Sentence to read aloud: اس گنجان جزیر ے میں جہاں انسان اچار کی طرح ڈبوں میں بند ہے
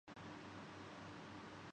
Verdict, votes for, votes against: rejected, 0, 2